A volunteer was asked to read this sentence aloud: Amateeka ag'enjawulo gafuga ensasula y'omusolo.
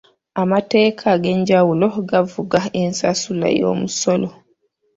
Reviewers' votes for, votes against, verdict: 2, 0, accepted